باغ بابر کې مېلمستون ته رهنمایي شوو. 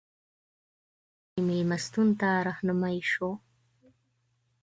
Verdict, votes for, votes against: rejected, 1, 2